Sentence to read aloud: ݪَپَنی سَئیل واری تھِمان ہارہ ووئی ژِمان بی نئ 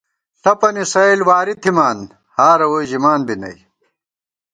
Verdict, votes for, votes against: accepted, 2, 0